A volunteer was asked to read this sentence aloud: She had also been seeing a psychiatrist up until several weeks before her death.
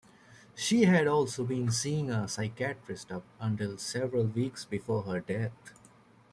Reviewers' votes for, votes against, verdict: 1, 2, rejected